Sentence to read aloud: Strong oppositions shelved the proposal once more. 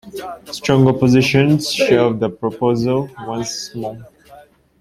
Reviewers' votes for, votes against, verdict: 2, 1, accepted